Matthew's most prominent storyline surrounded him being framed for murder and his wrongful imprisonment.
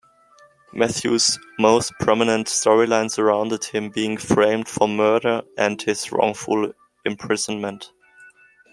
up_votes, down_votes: 2, 0